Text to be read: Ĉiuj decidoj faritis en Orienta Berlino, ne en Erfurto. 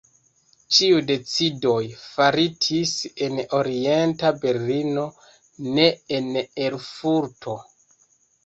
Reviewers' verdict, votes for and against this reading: accepted, 2, 0